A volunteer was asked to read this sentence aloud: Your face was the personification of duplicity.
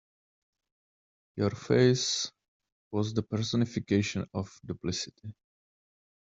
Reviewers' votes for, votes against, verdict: 2, 0, accepted